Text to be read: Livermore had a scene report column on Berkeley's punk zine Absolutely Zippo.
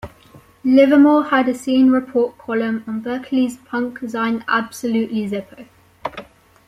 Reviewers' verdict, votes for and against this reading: rejected, 1, 2